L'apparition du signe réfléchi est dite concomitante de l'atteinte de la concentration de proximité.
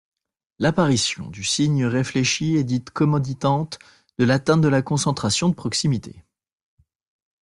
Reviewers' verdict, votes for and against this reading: rejected, 0, 2